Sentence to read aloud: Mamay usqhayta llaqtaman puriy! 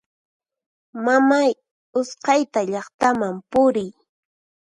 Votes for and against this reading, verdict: 4, 0, accepted